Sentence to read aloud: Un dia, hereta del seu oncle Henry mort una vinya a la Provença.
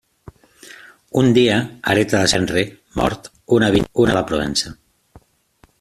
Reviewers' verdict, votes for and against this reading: rejected, 0, 3